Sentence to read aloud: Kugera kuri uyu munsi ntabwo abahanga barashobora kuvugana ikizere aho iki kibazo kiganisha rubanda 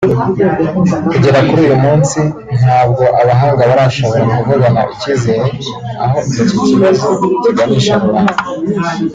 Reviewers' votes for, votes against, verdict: 0, 2, rejected